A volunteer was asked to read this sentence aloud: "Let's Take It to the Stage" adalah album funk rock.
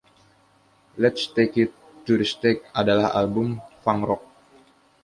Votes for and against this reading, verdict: 2, 1, accepted